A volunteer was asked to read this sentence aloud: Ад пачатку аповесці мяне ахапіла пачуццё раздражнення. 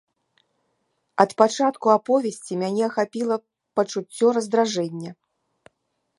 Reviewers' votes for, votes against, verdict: 0, 2, rejected